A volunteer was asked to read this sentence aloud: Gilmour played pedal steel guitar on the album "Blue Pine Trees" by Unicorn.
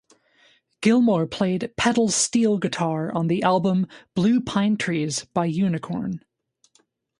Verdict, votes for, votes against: accepted, 2, 0